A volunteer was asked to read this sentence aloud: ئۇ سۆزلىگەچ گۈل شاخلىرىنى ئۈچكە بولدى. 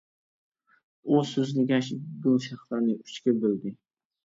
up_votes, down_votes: 0, 2